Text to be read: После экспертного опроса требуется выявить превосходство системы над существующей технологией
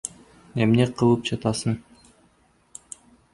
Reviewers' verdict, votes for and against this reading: rejected, 0, 2